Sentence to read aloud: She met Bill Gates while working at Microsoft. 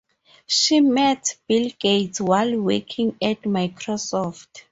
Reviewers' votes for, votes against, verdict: 0, 2, rejected